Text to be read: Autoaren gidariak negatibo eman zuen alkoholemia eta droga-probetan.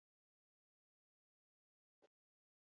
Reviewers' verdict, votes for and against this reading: rejected, 0, 4